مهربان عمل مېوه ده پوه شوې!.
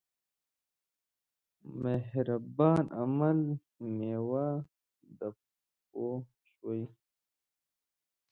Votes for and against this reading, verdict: 1, 2, rejected